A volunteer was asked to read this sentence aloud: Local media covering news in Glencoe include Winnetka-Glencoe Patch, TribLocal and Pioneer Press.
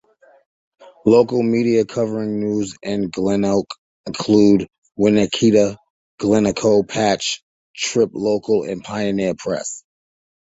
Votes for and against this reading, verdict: 2, 1, accepted